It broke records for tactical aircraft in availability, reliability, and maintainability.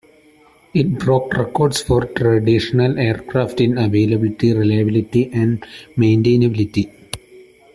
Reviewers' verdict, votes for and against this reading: rejected, 0, 2